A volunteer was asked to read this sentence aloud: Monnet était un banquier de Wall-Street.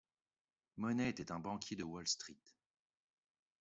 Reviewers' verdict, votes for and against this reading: accepted, 2, 0